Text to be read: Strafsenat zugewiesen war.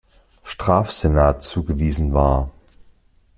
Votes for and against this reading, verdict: 2, 0, accepted